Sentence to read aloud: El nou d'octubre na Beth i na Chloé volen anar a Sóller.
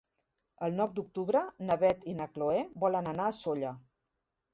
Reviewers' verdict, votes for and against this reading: rejected, 1, 2